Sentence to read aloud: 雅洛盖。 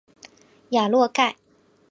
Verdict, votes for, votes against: accepted, 2, 0